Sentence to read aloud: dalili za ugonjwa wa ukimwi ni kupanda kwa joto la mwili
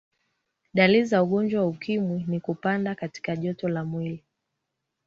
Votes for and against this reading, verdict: 2, 1, accepted